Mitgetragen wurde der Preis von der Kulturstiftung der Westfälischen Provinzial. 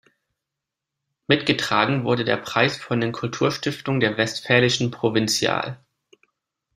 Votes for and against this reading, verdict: 0, 2, rejected